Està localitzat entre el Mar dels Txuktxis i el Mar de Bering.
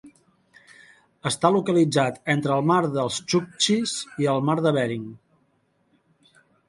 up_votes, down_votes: 2, 0